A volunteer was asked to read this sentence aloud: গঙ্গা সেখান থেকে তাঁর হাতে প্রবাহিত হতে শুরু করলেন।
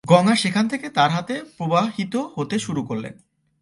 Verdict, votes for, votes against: rejected, 1, 2